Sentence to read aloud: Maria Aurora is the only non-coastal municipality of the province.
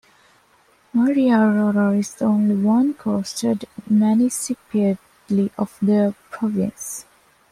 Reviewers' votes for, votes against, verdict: 2, 0, accepted